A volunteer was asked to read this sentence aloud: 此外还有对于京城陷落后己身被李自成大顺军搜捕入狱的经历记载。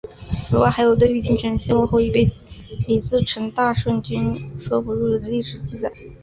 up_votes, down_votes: 2, 1